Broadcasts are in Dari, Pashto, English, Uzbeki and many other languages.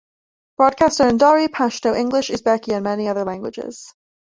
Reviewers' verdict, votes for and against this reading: accepted, 2, 1